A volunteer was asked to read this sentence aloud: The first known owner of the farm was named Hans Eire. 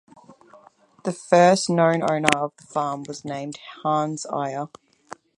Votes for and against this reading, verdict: 4, 2, accepted